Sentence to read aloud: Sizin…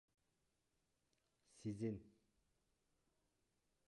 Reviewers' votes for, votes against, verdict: 0, 2, rejected